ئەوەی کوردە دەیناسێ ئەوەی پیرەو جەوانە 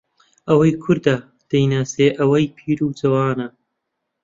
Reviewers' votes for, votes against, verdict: 0, 2, rejected